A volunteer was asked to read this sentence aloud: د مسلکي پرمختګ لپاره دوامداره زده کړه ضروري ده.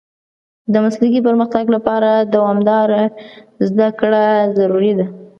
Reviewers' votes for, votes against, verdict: 2, 0, accepted